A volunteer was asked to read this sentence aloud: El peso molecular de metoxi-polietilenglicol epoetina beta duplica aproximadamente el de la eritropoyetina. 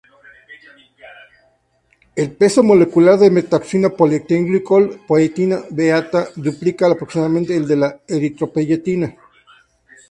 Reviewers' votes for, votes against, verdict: 0, 2, rejected